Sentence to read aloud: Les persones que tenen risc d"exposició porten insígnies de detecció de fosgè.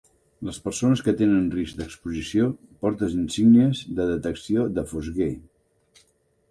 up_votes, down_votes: 2, 0